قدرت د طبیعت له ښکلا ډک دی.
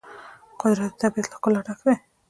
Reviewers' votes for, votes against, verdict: 1, 2, rejected